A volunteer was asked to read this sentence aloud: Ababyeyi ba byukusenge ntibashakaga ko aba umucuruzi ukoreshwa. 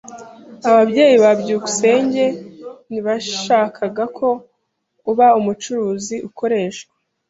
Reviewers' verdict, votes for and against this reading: rejected, 0, 2